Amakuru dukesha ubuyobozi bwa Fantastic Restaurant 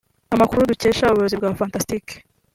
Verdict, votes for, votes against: rejected, 1, 3